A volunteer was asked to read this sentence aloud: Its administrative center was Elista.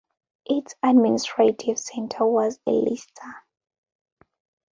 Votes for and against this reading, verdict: 2, 1, accepted